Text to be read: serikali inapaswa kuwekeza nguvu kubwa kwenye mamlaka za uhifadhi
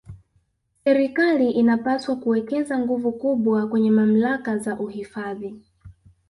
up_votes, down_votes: 1, 2